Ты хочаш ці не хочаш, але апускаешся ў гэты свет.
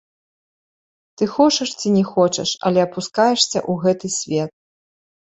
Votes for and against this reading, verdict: 1, 2, rejected